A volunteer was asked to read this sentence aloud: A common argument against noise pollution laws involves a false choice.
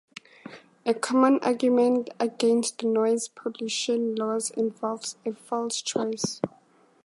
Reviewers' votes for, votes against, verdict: 4, 0, accepted